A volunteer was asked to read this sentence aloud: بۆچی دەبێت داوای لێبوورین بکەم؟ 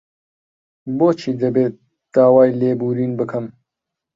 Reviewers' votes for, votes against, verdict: 2, 1, accepted